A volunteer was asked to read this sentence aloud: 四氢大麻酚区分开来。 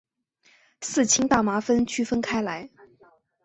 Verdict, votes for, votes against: accepted, 5, 0